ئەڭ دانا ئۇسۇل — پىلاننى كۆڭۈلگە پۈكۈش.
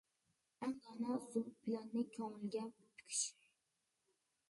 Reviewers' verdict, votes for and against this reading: rejected, 0, 2